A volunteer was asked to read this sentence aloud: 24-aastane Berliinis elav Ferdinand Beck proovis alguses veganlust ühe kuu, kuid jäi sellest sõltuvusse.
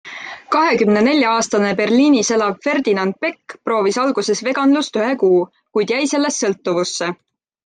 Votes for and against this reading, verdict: 0, 2, rejected